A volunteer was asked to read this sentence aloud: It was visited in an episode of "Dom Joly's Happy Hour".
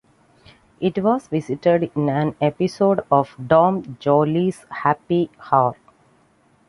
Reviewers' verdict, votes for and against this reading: accepted, 2, 0